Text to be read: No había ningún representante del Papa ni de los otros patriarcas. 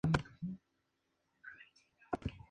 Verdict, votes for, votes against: rejected, 0, 2